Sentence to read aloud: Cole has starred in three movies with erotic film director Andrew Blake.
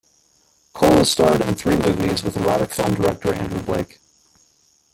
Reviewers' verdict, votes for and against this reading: rejected, 0, 2